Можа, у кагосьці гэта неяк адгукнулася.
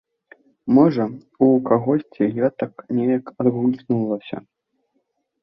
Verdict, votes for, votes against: rejected, 0, 2